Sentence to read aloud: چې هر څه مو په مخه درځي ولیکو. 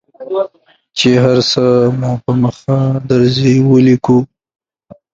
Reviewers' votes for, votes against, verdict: 2, 1, accepted